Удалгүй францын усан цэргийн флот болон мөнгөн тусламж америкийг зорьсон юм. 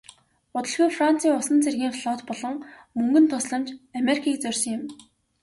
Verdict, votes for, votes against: accepted, 2, 0